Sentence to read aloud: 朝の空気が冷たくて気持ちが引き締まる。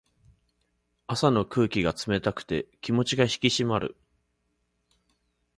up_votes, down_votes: 2, 0